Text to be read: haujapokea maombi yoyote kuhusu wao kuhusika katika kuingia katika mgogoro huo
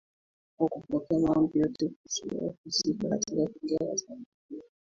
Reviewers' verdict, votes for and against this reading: rejected, 1, 2